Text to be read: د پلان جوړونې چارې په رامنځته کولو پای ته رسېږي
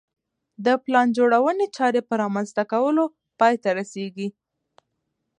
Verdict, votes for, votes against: accepted, 2, 0